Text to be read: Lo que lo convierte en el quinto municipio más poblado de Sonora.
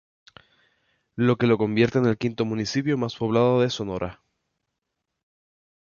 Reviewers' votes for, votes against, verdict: 4, 0, accepted